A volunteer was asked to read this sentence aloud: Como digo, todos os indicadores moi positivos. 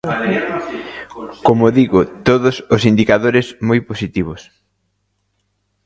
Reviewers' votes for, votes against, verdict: 2, 0, accepted